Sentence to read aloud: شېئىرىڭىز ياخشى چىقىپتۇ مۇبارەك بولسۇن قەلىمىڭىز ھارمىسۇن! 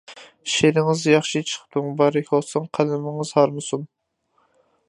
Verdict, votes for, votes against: rejected, 0, 2